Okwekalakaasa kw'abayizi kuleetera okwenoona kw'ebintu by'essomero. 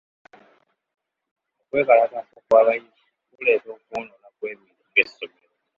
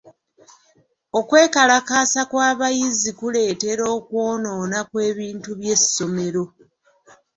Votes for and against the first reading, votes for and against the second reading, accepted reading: 1, 2, 2, 0, second